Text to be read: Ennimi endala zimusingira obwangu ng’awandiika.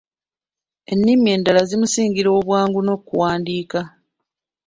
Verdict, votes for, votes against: rejected, 1, 2